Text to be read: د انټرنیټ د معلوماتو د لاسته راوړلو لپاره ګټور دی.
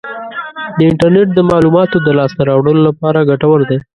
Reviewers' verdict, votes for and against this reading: rejected, 0, 2